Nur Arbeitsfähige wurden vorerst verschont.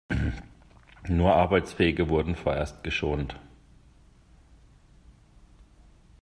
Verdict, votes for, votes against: rejected, 1, 2